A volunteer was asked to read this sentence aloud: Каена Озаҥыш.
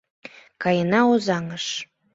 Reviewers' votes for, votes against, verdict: 2, 0, accepted